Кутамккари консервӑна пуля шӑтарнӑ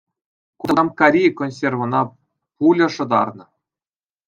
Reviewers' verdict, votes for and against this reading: accepted, 2, 0